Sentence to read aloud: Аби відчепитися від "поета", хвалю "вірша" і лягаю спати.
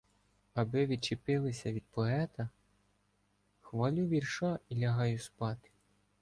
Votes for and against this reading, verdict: 1, 2, rejected